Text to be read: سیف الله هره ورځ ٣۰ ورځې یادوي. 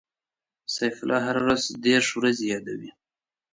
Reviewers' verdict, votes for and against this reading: rejected, 0, 2